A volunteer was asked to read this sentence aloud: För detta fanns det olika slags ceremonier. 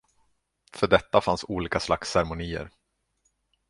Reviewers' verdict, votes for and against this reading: rejected, 0, 2